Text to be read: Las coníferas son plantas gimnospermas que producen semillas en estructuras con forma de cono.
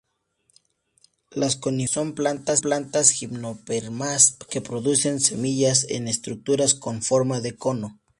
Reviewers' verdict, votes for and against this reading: accepted, 2, 0